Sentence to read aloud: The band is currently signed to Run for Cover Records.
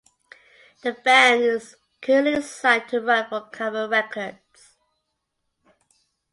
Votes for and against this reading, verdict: 0, 2, rejected